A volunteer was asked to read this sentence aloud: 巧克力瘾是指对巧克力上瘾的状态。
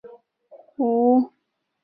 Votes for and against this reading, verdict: 0, 6, rejected